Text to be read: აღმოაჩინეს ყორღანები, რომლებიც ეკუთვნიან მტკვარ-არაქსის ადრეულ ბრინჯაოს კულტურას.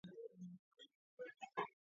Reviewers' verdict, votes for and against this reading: rejected, 0, 2